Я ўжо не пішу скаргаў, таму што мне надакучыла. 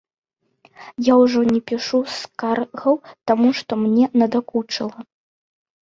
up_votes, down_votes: 2, 0